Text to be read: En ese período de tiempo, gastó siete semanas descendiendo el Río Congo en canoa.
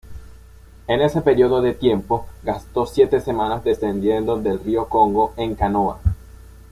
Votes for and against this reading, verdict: 1, 2, rejected